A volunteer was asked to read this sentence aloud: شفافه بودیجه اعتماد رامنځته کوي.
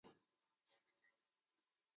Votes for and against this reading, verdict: 1, 2, rejected